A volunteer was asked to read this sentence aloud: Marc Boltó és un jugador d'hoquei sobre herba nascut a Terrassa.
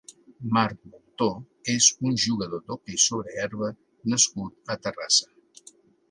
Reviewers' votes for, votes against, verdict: 3, 1, accepted